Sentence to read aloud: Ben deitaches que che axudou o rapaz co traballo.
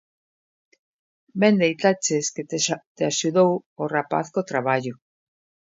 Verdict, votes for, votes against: rejected, 0, 2